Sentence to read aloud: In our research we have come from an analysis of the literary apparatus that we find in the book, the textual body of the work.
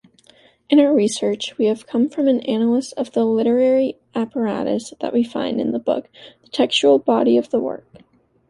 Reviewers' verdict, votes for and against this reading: rejected, 1, 2